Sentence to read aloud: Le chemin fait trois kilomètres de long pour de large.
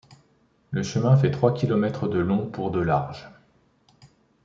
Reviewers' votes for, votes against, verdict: 2, 0, accepted